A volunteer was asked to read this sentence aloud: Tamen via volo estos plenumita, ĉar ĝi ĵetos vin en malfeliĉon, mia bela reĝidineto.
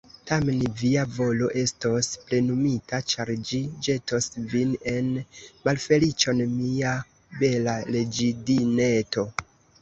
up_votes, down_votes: 1, 2